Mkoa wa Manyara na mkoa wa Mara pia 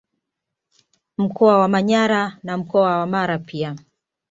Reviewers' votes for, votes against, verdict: 2, 0, accepted